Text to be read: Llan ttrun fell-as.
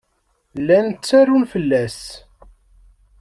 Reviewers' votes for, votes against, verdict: 1, 2, rejected